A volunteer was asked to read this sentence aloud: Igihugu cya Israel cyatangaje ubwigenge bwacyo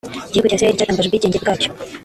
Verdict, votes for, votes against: rejected, 1, 2